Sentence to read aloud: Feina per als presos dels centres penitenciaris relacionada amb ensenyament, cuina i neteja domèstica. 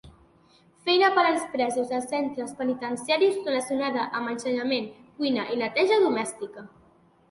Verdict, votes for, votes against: accepted, 2, 0